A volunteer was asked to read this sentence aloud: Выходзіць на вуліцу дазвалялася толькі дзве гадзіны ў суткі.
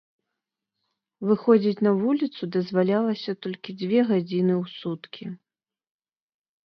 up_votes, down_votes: 2, 0